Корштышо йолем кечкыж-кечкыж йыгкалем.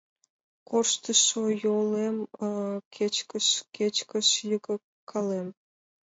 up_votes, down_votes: 2, 0